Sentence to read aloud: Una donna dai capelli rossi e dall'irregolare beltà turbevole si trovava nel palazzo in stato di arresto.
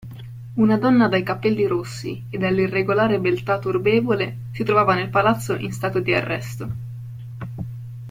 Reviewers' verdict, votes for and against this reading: accepted, 2, 1